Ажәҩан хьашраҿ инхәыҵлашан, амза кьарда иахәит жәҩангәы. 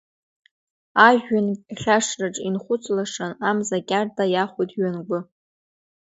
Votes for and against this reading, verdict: 1, 2, rejected